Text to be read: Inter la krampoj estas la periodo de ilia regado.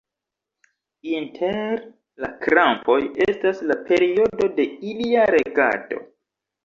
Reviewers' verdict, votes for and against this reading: rejected, 1, 2